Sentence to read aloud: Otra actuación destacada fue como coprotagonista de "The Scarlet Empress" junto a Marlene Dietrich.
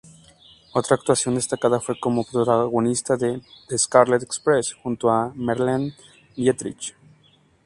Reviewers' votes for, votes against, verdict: 0, 2, rejected